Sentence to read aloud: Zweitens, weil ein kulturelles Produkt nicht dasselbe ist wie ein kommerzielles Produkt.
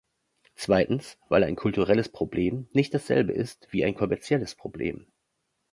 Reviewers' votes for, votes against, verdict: 0, 2, rejected